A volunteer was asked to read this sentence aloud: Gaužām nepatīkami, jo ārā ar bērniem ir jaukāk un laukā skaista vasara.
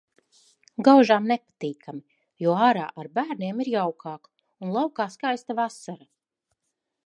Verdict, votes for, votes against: accepted, 2, 1